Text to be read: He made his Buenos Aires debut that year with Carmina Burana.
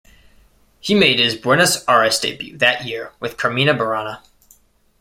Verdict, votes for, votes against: accepted, 2, 0